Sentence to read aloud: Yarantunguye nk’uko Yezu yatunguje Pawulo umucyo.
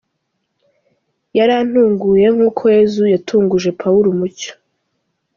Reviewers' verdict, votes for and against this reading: accepted, 2, 0